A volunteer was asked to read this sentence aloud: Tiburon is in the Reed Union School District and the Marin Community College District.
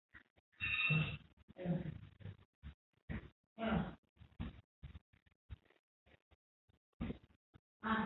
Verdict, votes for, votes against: rejected, 0, 2